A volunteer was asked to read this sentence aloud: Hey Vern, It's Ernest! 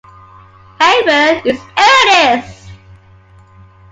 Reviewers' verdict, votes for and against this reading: accepted, 2, 0